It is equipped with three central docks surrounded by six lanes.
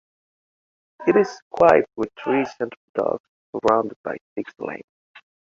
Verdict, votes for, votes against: rejected, 1, 2